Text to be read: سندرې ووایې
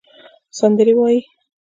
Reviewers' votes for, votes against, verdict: 0, 2, rejected